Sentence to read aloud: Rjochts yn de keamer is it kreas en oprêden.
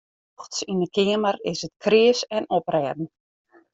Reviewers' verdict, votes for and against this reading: rejected, 0, 2